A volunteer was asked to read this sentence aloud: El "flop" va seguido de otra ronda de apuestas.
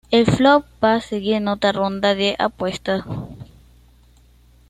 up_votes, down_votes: 1, 2